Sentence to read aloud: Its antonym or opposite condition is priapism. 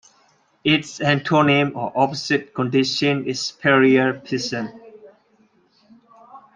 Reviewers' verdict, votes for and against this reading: rejected, 0, 2